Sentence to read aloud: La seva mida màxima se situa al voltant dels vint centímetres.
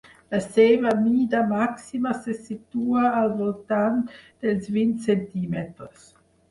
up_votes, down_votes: 6, 0